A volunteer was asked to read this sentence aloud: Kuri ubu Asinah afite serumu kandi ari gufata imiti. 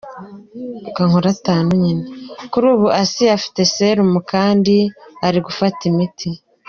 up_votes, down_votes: 2, 1